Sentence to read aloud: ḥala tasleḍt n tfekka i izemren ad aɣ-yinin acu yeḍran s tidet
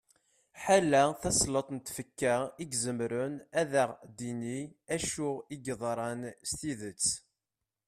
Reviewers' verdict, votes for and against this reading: rejected, 0, 2